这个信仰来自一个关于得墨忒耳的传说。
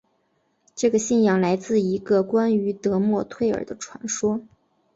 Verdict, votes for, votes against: accepted, 3, 0